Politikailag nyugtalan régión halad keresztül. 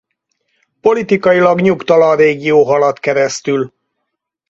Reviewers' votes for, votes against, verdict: 2, 4, rejected